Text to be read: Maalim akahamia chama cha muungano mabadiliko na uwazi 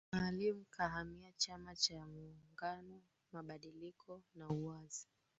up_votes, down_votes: 2, 3